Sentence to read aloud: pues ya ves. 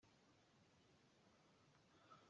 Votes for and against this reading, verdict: 0, 2, rejected